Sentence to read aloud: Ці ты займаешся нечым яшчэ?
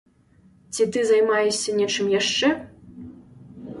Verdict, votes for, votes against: accepted, 2, 0